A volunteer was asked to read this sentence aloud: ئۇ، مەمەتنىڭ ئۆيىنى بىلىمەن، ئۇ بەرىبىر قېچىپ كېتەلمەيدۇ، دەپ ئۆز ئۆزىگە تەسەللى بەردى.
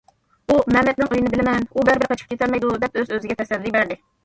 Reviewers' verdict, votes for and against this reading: rejected, 1, 2